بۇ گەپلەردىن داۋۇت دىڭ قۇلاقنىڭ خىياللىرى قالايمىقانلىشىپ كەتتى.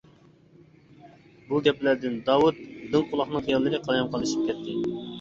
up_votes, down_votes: 2, 1